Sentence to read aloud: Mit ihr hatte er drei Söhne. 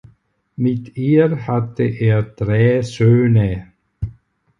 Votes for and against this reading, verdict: 4, 0, accepted